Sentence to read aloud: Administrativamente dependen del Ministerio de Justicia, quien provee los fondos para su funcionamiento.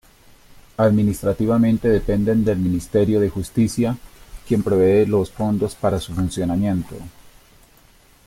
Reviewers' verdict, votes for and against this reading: accepted, 2, 0